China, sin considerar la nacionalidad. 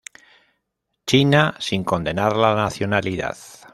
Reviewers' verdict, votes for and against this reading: rejected, 0, 2